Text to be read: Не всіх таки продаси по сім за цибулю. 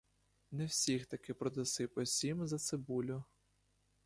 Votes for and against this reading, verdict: 2, 0, accepted